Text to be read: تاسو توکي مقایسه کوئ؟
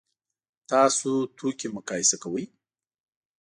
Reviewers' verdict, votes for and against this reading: accepted, 2, 0